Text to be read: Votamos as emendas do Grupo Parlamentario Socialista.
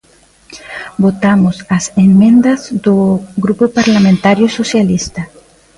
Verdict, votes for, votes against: rejected, 1, 2